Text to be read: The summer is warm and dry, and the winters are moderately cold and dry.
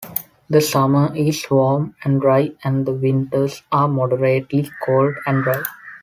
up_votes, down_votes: 0, 2